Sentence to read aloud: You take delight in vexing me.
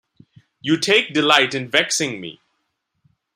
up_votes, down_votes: 2, 0